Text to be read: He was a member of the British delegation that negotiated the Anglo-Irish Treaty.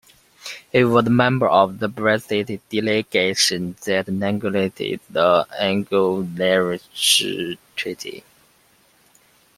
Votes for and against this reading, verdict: 2, 1, accepted